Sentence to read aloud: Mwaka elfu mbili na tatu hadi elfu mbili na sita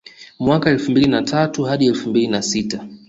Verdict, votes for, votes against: accepted, 2, 0